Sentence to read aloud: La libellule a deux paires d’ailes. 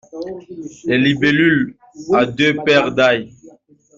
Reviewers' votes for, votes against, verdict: 1, 2, rejected